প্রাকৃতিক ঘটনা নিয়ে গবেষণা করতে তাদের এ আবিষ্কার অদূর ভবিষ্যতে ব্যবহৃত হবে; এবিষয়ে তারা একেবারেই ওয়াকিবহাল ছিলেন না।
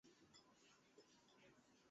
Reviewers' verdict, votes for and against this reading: rejected, 0, 2